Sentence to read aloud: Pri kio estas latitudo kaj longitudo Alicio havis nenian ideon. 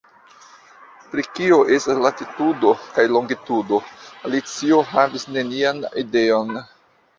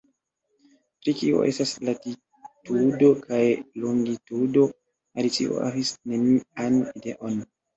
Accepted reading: first